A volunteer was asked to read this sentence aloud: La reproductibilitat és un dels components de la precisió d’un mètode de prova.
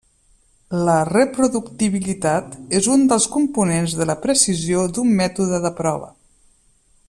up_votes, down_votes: 3, 0